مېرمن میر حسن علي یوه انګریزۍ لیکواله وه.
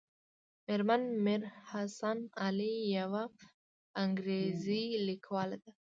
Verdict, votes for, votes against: rejected, 1, 2